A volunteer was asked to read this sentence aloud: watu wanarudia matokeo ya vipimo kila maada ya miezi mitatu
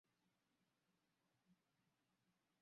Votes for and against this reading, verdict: 0, 2, rejected